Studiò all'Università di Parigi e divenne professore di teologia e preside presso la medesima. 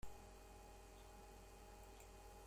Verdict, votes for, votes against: rejected, 0, 2